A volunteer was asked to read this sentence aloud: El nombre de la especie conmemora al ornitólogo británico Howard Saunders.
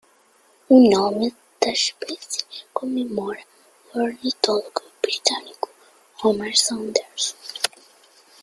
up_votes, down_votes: 0, 2